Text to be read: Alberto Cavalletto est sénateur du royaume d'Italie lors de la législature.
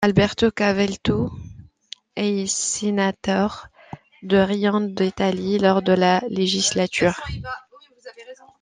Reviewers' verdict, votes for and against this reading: rejected, 1, 2